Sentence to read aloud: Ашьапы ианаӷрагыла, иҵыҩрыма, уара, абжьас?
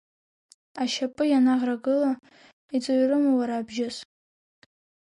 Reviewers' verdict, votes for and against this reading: rejected, 0, 2